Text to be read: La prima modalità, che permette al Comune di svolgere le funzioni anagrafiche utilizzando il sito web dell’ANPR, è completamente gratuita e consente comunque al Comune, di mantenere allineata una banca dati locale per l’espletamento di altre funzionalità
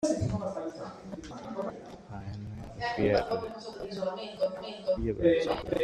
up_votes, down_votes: 0, 2